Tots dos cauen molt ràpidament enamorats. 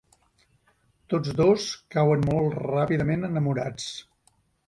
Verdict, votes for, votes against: accepted, 2, 0